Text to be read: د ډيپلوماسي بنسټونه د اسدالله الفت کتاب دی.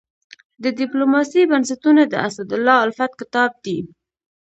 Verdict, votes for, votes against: accepted, 2, 1